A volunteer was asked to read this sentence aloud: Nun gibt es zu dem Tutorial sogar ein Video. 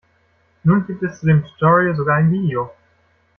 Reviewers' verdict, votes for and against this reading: rejected, 1, 2